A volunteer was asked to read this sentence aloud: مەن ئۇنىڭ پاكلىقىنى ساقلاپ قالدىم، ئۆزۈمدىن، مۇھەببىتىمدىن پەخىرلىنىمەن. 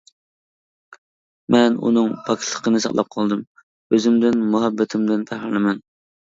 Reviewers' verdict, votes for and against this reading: rejected, 0, 2